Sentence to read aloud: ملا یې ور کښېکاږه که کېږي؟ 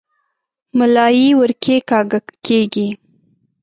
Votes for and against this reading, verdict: 0, 2, rejected